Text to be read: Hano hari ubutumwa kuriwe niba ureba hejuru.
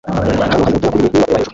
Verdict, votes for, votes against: rejected, 0, 2